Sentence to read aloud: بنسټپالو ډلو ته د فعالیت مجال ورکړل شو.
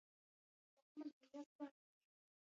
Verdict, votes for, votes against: rejected, 3, 6